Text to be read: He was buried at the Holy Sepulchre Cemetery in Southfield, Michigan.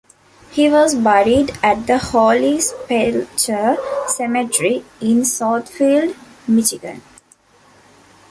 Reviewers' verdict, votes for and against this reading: accepted, 2, 0